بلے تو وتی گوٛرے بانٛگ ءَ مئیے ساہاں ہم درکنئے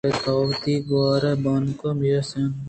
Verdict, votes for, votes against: rejected, 1, 2